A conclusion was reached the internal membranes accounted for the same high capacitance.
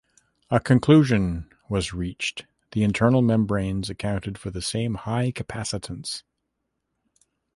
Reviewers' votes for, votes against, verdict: 2, 0, accepted